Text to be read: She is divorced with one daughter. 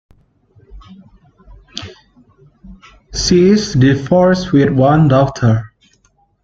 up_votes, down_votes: 2, 0